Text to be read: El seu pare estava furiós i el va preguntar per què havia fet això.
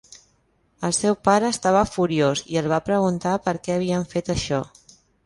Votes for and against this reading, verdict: 1, 2, rejected